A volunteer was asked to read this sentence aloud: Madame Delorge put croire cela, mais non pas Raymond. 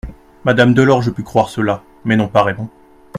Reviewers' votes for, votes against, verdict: 2, 0, accepted